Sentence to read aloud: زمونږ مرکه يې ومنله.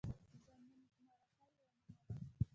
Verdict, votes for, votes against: rejected, 0, 2